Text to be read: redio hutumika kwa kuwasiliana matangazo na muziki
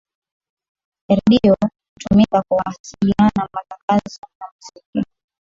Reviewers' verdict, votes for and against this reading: rejected, 1, 2